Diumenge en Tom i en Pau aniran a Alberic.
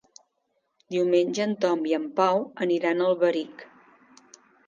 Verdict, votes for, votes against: accepted, 2, 0